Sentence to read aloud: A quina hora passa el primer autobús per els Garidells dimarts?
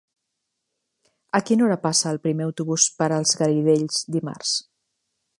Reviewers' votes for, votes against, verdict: 2, 0, accepted